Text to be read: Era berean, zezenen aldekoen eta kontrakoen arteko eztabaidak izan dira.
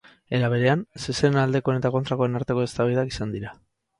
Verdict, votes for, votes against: accepted, 4, 0